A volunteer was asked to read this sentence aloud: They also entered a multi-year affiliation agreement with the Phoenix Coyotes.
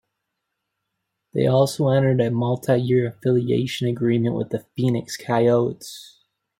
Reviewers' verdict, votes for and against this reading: accepted, 2, 0